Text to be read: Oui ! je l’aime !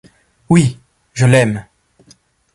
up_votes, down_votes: 2, 0